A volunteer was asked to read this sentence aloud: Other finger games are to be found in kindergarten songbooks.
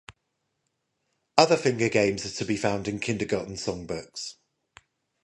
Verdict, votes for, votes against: rejected, 0, 5